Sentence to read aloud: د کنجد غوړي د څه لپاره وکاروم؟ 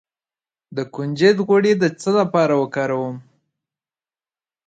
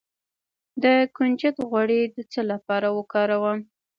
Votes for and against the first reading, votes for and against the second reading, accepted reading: 2, 0, 1, 2, first